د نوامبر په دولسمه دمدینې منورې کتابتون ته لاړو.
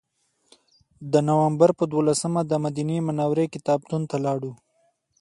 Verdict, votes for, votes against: accepted, 2, 1